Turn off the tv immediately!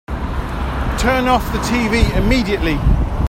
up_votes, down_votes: 2, 0